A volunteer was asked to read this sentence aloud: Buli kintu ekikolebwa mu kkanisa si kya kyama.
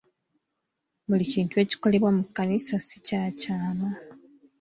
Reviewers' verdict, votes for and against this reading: accepted, 2, 0